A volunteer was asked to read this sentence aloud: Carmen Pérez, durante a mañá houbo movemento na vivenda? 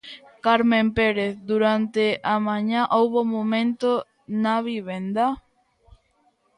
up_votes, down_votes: 0, 2